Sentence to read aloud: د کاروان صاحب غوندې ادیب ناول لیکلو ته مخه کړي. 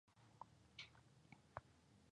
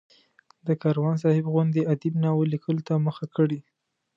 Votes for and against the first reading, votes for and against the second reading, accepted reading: 0, 2, 3, 0, second